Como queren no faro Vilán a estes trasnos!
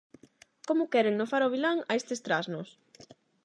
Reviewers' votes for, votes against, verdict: 8, 0, accepted